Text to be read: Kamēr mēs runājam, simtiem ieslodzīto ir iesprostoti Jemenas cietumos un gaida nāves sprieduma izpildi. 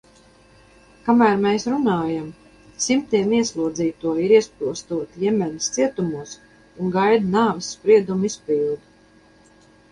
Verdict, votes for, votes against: accepted, 2, 0